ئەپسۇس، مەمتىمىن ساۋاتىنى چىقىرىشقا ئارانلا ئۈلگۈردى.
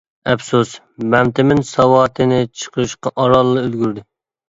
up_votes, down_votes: 2, 0